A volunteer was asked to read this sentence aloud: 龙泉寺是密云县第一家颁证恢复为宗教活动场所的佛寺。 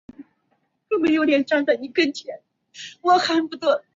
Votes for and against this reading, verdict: 2, 5, rejected